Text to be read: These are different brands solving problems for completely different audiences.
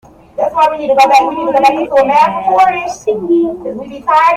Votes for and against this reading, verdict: 0, 3, rejected